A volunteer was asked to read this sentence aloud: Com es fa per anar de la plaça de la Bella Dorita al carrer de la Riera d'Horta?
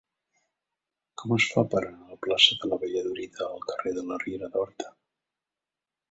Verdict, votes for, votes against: rejected, 0, 2